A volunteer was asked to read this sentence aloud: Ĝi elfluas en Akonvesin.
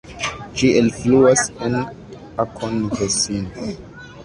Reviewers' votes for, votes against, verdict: 0, 2, rejected